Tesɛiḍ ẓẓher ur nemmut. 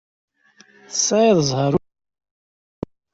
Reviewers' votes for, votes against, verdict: 0, 2, rejected